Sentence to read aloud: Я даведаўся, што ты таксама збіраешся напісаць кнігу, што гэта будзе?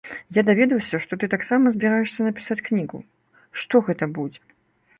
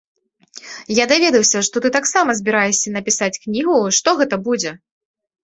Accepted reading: second